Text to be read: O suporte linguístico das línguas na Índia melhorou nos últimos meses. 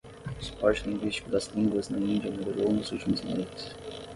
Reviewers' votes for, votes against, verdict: 5, 0, accepted